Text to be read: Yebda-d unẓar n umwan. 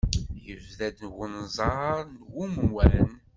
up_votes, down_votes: 2, 0